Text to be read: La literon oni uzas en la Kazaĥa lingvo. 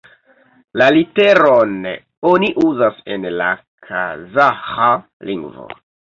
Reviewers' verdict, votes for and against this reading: accepted, 2, 1